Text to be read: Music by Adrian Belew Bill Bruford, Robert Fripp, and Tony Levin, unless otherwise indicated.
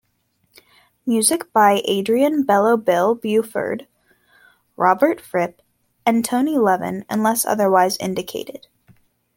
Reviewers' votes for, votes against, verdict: 1, 2, rejected